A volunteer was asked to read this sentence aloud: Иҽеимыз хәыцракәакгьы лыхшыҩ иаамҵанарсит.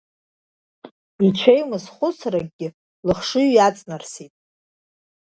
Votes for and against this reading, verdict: 1, 2, rejected